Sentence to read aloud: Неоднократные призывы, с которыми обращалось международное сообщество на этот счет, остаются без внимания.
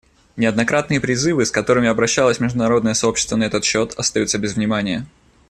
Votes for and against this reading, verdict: 2, 0, accepted